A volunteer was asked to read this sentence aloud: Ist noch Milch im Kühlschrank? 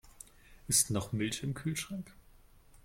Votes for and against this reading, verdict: 2, 0, accepted